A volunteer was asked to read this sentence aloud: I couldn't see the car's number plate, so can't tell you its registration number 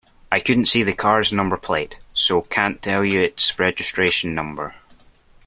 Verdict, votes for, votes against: accepted, 2, 0